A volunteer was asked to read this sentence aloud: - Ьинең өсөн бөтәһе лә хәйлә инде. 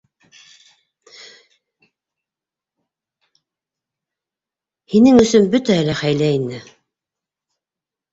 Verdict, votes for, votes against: rejected, 1, 2